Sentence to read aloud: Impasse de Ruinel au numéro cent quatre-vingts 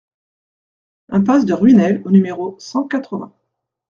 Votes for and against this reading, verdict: 2, 0, accepted